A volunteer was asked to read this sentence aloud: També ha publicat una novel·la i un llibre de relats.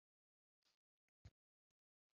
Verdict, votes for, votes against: rejected, 0, 2